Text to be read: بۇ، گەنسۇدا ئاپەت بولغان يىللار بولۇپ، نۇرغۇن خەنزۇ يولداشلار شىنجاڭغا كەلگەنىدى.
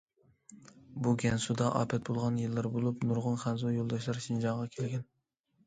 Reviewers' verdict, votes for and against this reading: rejected, 0, 2